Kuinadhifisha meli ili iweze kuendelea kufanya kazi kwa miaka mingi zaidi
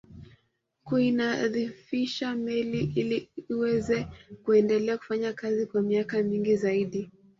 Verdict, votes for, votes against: rejected, 0, 2